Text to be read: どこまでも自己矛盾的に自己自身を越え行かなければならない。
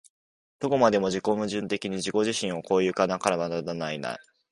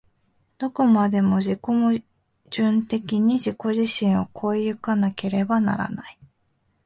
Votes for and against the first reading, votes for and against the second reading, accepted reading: 2, 5, 2, 0, second